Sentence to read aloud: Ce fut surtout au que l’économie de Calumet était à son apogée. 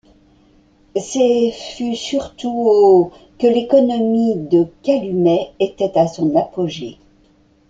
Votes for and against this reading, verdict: 1, 2, rejected